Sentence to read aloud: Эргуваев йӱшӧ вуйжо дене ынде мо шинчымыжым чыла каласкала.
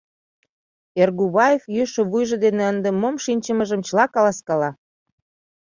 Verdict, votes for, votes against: rejected, 1, 2